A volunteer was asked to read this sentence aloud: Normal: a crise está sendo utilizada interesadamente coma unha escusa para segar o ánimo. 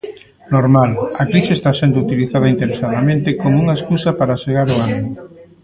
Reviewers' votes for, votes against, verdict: 2, 3, rejected